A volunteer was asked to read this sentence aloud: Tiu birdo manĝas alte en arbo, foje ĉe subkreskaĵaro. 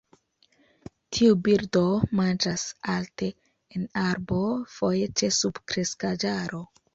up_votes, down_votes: 2, 1